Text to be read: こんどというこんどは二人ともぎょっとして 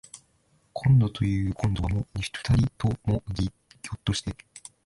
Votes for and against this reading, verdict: 1, 2, rejected